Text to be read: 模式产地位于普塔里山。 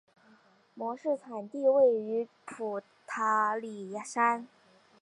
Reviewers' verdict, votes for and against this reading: accepted, 3, 0